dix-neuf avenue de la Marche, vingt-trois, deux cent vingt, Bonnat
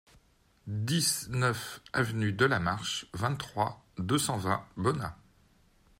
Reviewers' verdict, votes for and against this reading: accepted, 2, 0